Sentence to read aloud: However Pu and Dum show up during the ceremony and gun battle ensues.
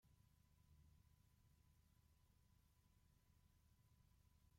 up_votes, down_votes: 0, 2